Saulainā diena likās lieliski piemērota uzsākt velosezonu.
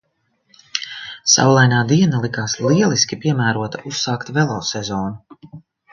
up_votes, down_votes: 2, 0